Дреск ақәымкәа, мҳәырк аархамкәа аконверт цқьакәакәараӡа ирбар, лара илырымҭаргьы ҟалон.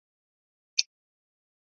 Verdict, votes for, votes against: rejected, 0, 2